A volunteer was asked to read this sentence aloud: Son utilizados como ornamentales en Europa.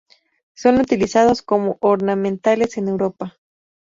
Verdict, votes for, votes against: accepted, 2, 0